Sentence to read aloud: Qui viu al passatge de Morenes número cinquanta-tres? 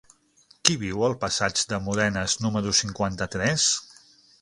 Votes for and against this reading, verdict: 3, 6, rejected